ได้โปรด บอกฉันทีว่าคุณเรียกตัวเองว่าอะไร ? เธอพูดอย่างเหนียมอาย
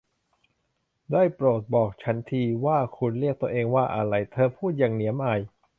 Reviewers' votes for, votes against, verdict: 2, 0, accepted